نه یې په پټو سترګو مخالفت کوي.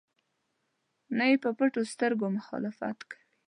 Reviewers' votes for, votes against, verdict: 2, 0, accepted